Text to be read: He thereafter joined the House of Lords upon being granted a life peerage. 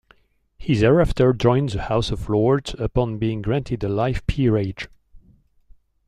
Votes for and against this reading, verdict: 1, 2, rejected